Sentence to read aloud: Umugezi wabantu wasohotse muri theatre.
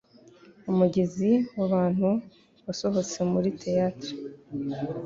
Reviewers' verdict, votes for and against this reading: accepted, 2, 0